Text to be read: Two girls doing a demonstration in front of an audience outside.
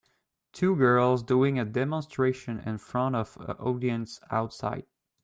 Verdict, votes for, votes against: rejected, 0, 2